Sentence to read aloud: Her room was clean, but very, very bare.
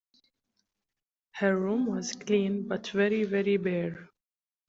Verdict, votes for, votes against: accepted, 2, 0